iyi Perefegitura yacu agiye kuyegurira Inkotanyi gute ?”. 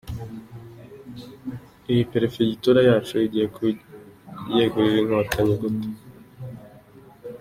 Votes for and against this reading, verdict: 2, 3, rejected